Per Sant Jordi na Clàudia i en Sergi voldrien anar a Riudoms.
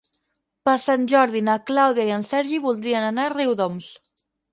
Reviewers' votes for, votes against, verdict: 6, 0, accepted